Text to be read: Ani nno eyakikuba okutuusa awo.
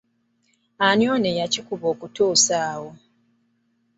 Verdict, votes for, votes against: accepted, 2, 1